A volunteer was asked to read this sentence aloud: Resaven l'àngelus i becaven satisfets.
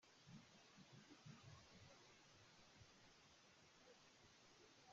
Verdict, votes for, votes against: rejected, 0, 2